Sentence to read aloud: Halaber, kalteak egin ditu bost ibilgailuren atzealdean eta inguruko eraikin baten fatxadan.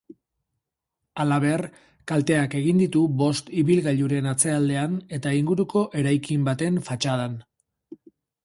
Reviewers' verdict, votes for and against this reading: accepted, 6, 0